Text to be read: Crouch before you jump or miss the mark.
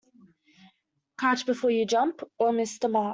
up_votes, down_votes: 1, 2